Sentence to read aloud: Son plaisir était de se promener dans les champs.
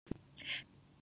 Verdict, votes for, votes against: rejected, 1, 2